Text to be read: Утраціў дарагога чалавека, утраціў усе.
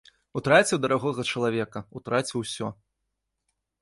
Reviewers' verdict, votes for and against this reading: rejected, 1, 2